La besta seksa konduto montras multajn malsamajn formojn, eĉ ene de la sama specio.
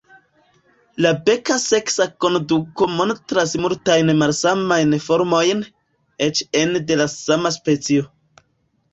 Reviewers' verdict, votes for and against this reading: rejected, 0, 2